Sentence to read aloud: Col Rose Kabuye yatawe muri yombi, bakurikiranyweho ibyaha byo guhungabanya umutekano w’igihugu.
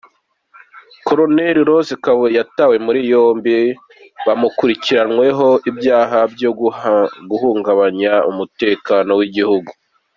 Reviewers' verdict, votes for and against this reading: accepted, 2, 1